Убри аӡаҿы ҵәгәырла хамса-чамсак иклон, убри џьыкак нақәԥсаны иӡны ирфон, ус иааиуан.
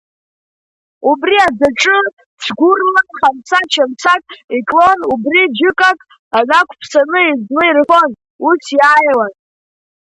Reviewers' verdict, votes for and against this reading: accepted, 2, 1